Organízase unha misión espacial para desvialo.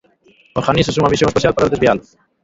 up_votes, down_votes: 0, 2